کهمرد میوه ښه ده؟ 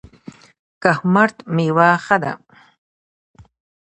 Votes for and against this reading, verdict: 1, 2, rejected